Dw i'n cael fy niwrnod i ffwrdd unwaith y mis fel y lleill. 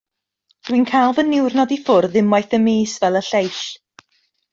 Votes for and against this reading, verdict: 2, 0, accepted